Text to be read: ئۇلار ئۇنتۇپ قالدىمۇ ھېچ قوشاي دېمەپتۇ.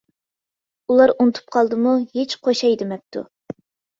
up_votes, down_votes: 3, 0